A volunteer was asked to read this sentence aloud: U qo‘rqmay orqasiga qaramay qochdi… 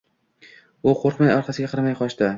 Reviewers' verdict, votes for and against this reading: rejected, 0, 2